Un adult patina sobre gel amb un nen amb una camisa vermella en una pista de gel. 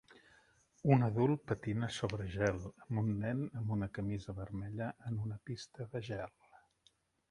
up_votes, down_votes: 3, 0